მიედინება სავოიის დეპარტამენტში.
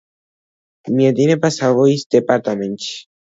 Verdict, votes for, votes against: accepted, 2, 0